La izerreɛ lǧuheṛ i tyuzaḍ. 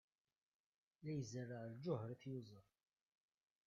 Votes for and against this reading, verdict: 0, 2, rejected